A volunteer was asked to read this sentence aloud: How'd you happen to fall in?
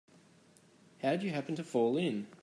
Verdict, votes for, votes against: accepted, 2, 0